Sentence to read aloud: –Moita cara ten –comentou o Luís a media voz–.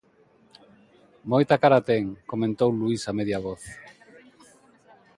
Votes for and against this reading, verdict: 0, 2, rejected